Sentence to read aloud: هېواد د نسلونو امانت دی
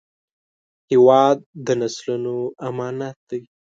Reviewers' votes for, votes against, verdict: 2, 0, accepted